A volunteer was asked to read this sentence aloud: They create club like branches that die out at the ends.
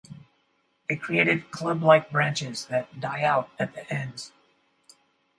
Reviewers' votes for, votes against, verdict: 0, 4, rejected